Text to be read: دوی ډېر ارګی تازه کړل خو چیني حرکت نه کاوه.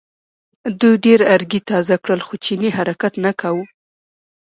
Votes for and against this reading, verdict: 1, 2, rejected